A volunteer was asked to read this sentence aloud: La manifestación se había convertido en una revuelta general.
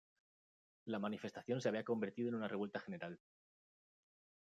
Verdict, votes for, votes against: accepted, 2, 0